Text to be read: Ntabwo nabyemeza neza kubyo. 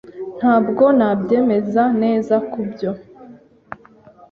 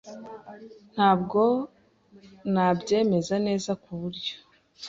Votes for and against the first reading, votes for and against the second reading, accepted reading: 2, 0, 0, 2, first